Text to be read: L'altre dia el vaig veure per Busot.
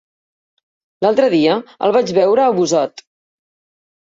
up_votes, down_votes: 1, 2